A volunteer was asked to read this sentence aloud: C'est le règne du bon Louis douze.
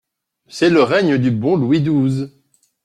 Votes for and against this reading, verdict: 2, 0, accepted